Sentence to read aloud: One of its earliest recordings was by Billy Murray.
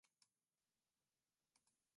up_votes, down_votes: 0, 2